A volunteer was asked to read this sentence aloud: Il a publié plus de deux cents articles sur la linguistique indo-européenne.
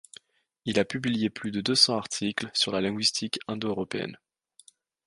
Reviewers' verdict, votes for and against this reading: accepted, 2, 0